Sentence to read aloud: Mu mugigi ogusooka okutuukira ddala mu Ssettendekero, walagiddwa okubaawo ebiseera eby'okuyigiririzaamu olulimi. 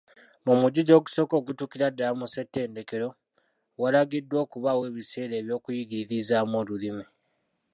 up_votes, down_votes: 0, 2